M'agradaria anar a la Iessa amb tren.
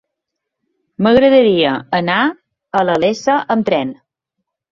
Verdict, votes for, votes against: rejected, 1, 2